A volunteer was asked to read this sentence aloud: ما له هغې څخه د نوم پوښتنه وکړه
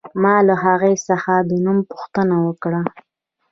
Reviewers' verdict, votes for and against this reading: rejected, 0, 2